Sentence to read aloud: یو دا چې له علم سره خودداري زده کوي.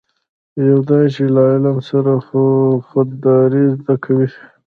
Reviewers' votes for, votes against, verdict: 0, 2, rejected